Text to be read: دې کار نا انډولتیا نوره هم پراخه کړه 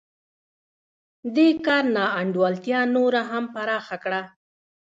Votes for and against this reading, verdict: 1, 2, rejected